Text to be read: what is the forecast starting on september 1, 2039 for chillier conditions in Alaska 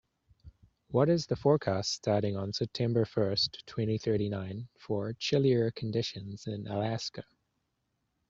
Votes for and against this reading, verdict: 0, 2, rejected